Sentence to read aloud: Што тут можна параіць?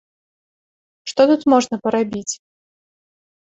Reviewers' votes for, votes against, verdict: 0, 2, rejected